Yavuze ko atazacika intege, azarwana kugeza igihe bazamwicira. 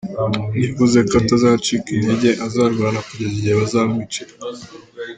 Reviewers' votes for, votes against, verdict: 2, 1, accepted